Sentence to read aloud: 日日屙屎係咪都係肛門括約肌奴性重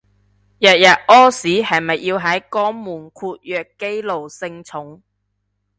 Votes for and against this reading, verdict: 0, 2, rejected